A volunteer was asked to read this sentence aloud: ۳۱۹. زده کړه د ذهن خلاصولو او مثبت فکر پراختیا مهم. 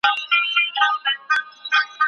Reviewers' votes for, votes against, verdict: 0, 2, rejected